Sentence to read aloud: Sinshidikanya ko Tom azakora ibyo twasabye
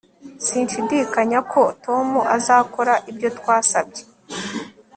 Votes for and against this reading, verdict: 2, 0, accepted